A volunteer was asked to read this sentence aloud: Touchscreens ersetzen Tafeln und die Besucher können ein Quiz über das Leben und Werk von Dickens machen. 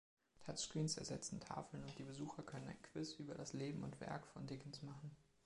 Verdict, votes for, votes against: accepted, 2, 0